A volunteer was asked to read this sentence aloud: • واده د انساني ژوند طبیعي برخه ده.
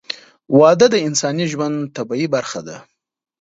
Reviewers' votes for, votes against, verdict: 2, 0, accepted